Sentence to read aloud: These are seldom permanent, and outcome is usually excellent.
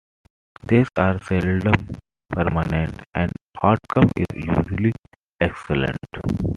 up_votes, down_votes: 2, 0